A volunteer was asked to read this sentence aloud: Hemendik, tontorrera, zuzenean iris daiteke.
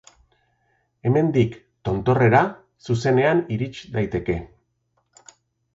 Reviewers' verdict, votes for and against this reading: accepted, 2, 0